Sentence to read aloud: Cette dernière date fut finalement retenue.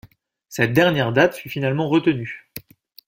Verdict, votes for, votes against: accepted, 2, 0